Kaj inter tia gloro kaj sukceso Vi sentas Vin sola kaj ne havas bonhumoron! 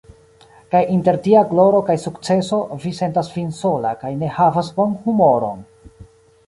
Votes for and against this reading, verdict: 2, 0, accepted